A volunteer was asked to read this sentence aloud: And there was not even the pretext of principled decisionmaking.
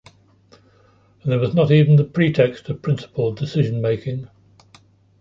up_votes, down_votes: 1, 2